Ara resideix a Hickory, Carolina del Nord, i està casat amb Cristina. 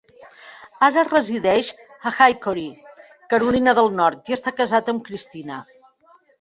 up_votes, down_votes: 0, 2